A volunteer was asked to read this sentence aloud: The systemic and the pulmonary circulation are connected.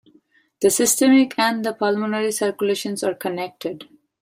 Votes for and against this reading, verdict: 2, 1, accepted